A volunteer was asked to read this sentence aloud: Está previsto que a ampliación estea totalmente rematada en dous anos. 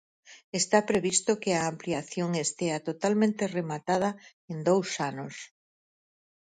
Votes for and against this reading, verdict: 4, 0, accepted